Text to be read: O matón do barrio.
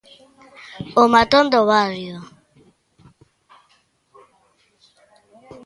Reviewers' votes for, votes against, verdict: 0, 2, rejected